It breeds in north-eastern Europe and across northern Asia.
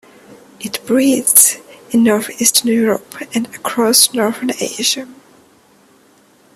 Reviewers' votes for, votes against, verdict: 2, 0, accepted